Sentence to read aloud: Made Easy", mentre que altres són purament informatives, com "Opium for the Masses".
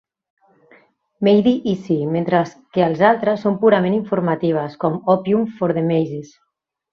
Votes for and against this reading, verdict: 0, 2, rejected